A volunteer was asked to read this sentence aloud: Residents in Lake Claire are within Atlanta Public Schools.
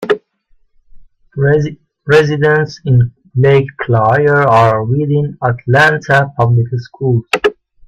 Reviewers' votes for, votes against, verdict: 0, 2, rejected